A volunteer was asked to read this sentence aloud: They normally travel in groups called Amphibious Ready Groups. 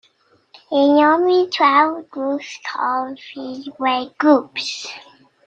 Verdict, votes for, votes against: rejected, 0, 2